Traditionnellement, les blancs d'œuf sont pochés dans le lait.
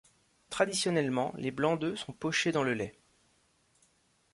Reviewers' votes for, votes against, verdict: 2, 0, accepted